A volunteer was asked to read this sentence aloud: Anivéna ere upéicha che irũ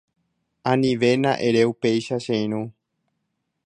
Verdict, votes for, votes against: accepted, 2, 0